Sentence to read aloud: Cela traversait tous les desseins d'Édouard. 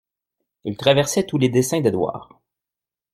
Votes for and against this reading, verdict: 0, 2, rejected